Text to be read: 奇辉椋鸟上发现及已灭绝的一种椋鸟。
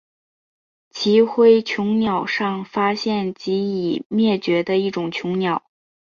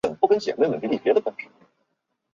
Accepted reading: first